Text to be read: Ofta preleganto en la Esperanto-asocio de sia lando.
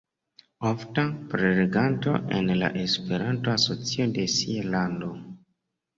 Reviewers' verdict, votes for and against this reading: accepted, 2, 0